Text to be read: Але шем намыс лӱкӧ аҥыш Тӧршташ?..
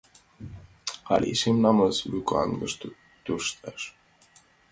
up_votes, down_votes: 1, 2